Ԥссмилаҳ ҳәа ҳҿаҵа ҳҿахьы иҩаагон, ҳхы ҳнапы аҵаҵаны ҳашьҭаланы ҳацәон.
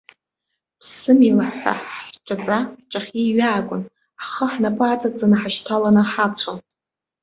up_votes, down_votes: 3, 0